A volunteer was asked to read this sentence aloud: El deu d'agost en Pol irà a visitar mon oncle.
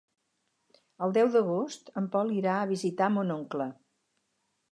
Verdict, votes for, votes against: accepted, 4, 0